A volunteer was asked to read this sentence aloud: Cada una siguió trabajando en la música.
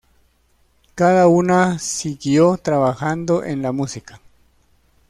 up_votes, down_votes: 2, 0